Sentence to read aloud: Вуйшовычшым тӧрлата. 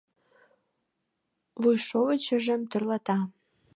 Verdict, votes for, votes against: rejected, 1, 2